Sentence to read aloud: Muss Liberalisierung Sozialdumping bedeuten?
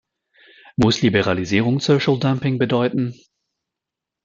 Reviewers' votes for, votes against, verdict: 0, 2, rejected